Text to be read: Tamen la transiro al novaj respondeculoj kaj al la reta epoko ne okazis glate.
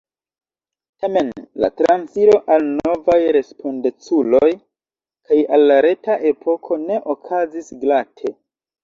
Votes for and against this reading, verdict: 1, 2, rejected